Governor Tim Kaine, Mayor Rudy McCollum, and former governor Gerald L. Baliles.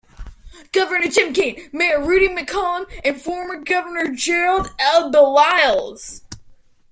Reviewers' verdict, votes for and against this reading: accepted, 2, 1